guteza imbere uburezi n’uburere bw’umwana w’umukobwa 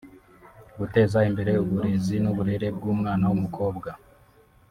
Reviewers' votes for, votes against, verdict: 0, 2, rejected